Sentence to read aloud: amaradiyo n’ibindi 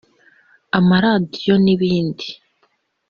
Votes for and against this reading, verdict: 2, 0, accepted